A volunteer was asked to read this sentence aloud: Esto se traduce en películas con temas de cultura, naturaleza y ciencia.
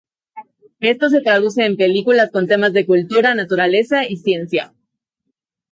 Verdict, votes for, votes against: rejected, 0, 2